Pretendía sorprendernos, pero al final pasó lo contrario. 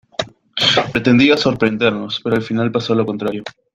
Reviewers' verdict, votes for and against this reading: accepted, 2, 0